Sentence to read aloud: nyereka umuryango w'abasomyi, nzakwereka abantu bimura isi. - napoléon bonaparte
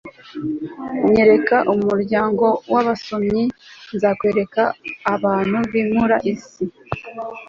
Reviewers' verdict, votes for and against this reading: rejected, 0, 2